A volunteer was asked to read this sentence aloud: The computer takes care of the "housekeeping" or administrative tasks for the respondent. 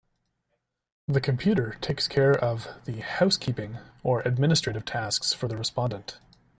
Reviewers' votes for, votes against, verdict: 2, 1, accepted